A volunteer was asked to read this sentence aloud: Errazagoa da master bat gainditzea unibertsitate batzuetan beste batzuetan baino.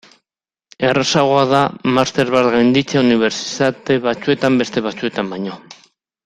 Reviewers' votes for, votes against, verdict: 0, 2, rejected